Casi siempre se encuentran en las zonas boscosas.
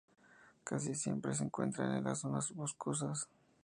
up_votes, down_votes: 2, 0